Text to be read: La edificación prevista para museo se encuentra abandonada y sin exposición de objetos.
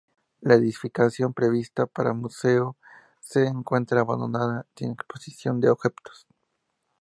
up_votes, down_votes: 2, 0